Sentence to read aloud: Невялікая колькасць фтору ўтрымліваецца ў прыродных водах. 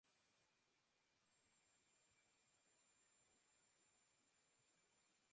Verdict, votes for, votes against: rejected, 0, 2